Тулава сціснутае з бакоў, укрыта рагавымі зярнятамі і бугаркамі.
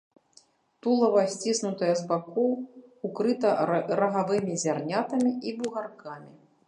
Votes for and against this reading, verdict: 0, 2, rejected